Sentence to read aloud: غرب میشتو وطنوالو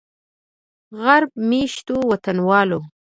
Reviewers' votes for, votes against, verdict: 2, 0, accepted